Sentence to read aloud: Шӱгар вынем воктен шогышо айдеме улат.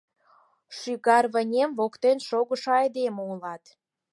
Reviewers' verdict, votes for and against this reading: accepted, 4, 0